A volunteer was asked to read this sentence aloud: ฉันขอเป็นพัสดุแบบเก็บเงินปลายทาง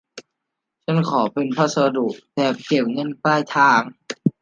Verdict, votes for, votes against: accepted, 2, 1